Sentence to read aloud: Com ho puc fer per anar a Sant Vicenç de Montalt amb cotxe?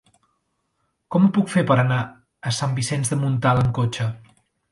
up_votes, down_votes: 3, 0